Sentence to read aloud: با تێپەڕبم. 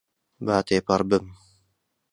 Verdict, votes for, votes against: accepted, 2, 0